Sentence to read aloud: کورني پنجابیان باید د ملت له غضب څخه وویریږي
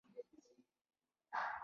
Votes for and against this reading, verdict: 2, 1, accepted